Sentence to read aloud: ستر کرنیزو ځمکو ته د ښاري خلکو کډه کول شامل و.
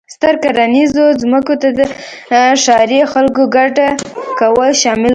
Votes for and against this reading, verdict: 0, 2, rejected